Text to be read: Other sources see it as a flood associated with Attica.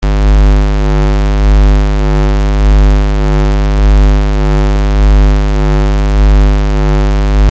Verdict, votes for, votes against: rejected, 0, 2